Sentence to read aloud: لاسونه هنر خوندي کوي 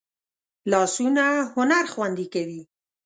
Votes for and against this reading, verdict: 2, 0, accepted